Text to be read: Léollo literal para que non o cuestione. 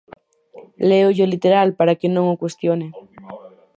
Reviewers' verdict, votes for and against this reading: rejected, 0, 4